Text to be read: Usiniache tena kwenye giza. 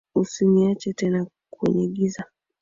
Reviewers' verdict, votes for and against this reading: rejected, 0, 2